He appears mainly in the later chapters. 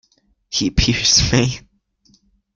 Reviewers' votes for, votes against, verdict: 0, 2, rejected